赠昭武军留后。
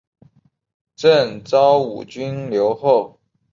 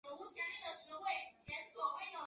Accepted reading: first